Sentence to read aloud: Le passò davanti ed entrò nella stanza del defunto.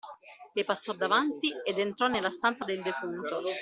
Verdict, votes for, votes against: accepted, 2, 0